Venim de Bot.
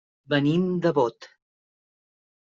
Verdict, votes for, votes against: accepted, 3, 0